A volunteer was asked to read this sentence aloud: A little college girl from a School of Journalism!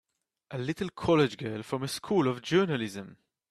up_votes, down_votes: 4, 0